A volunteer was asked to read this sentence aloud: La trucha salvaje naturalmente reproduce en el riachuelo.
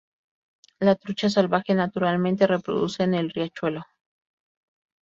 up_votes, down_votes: 4, 0